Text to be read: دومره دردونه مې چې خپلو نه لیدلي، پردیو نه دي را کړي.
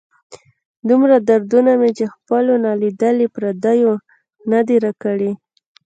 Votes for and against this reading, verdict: 2, 0, accepted